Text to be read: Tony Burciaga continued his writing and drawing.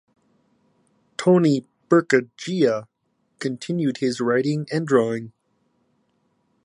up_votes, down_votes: 0, 2